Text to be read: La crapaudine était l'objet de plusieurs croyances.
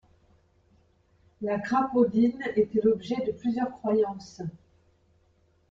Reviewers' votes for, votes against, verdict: 2, 0, accepted